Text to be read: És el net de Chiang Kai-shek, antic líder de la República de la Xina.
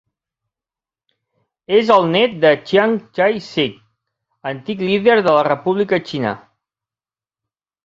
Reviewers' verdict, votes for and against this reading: rejected, 0, 4